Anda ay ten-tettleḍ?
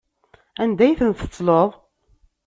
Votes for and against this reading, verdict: 3, 0, accepted